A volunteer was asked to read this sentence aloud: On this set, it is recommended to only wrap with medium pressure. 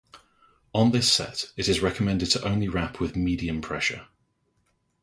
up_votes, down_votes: 2, 0